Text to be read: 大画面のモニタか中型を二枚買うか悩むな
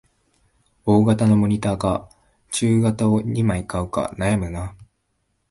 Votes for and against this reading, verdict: 1, 2, rejected